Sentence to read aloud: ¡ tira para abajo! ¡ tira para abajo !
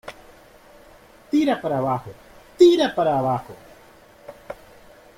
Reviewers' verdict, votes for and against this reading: accepted, 2, 0